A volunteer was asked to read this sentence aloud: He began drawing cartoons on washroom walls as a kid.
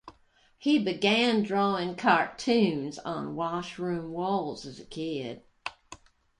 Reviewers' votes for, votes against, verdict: 2, 0, accepted